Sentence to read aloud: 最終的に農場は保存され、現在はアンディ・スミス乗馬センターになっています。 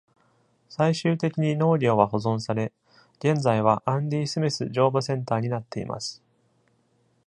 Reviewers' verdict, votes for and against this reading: rejected, 1, 2